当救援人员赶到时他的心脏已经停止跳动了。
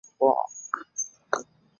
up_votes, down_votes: 0, 3